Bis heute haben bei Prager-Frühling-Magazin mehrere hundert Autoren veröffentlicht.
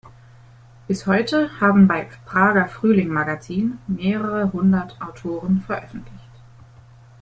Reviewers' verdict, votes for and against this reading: accepted, 2, 1